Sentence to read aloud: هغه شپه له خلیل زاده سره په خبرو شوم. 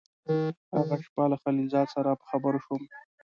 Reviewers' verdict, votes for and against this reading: rejected, 1, 3